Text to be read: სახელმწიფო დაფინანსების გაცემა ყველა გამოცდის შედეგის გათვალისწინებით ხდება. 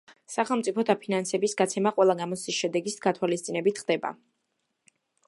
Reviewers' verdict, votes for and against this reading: accepted, 2, 0